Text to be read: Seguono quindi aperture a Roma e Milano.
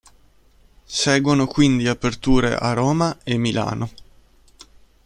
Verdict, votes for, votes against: accepted, 2, 0